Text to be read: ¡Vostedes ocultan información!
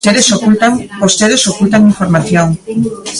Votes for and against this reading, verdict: 1, 2, rejected